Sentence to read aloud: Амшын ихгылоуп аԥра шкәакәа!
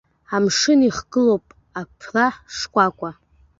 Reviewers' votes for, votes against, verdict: 2, 1, accepted